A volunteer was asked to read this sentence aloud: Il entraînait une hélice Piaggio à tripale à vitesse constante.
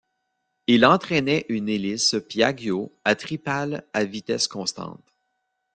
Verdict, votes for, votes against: rejected, 0, 2